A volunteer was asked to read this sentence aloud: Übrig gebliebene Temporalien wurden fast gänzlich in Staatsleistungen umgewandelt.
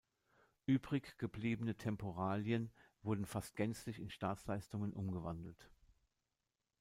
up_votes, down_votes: 2, 0